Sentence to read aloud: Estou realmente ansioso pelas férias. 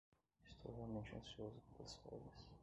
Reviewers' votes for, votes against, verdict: 0, 2, rejected